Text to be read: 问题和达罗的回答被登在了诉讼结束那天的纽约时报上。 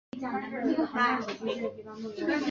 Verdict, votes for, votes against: rejected, 1, 4